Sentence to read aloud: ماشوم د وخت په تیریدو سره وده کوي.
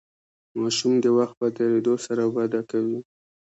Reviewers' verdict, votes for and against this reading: rejected, 1, 2